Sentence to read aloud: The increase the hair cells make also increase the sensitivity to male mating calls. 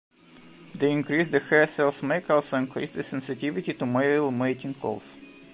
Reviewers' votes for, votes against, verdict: 2, 0, accepted